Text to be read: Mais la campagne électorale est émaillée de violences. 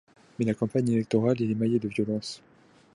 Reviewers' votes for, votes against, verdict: 0, 2, rejected